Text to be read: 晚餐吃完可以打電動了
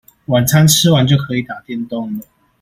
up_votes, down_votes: 0, 2